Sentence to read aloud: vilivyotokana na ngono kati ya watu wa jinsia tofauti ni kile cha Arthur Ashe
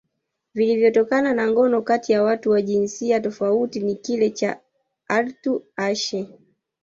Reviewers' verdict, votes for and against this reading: rejected, 1, 2